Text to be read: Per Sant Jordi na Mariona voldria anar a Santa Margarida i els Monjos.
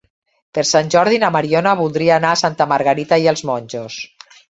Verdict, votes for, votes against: rejected, 0, 2